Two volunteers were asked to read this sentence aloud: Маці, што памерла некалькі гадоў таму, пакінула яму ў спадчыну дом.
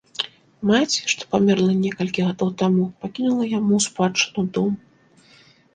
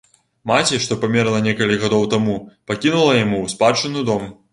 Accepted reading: first